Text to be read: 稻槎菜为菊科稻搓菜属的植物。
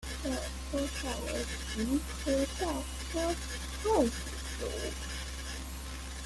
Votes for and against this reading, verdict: 0, 2, rejected